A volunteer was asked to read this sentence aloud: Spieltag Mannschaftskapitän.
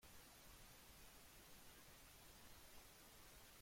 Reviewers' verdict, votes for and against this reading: rejected, 0, 2